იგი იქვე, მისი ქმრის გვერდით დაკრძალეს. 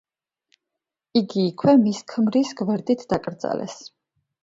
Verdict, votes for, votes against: rejected, 1, 2